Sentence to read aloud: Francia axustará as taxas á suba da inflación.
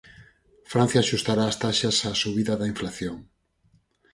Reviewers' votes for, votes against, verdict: 0, 4, rejected